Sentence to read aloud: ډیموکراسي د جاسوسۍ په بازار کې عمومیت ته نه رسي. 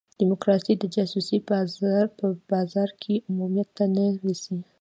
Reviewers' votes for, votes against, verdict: 1, 2, rejected